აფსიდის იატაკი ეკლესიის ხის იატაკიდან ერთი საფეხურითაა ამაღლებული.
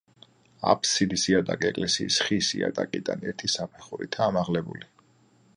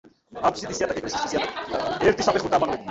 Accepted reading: first